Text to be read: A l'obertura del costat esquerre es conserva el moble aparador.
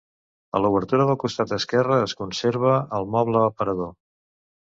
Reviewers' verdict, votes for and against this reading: accepted, 2, 0